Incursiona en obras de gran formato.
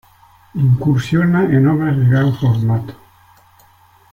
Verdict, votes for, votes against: accepted, 2, 0